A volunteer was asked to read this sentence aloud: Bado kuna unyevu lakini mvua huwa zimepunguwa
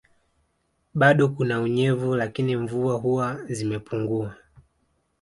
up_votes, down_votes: 2, 0